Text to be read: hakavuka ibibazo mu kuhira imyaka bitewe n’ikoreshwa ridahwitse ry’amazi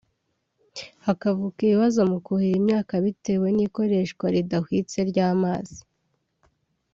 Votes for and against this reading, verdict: 3, 0, accepted